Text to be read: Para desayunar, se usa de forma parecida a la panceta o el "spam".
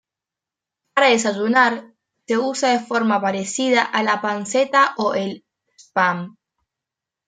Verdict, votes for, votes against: rejected, 1, 2